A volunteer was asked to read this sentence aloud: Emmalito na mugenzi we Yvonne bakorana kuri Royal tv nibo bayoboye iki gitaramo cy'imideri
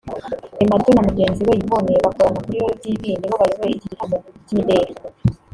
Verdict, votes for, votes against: rejected, 1, 2